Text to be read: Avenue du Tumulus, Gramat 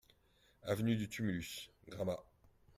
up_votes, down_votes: 2, 0